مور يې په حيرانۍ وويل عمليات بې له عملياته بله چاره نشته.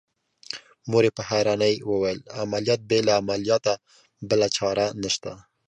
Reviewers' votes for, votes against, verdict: 2, 0, accepted